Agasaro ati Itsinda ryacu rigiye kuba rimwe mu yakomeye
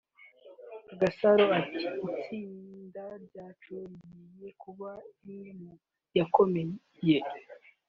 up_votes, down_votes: 1, 2